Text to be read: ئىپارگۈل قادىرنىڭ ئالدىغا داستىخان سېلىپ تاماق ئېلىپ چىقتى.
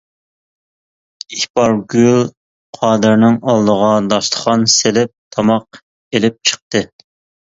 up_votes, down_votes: 2, 0